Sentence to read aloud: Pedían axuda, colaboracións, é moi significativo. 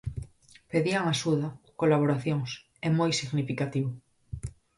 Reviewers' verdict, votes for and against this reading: accepted, 4, 0